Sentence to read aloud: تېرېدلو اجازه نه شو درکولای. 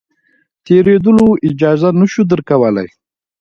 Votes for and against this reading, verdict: 2, 0, accepted